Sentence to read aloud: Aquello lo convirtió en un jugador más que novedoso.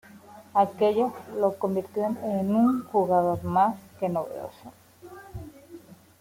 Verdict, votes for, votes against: accepted, 2, 0